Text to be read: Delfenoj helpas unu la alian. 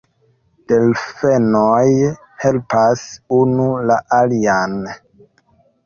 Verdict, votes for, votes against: rejected, 1, 2